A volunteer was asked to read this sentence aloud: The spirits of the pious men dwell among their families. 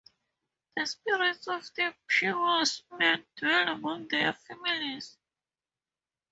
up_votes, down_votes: 0, 4